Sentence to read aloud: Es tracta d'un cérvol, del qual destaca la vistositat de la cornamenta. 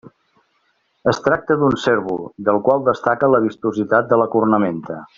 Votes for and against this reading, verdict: 2, 0, accepted